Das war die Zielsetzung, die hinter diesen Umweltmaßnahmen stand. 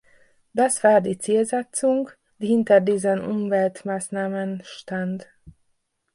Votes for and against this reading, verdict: 2, 1, accepted